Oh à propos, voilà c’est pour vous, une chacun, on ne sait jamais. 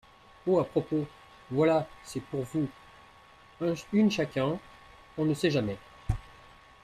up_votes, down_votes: 2, 0